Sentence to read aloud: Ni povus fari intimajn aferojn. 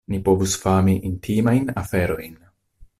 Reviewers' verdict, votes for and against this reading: rejected, 0, 2